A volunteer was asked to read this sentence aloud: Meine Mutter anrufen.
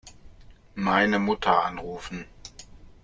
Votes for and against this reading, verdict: 2, 0, accepted